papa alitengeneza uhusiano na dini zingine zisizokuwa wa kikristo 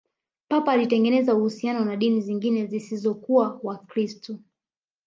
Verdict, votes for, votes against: rejected, 1, 2